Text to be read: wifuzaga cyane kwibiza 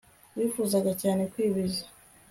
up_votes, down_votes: 2, 0